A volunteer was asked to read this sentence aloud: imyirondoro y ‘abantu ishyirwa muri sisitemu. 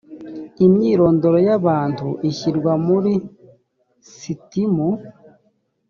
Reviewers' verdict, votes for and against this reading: rejected, 2, 3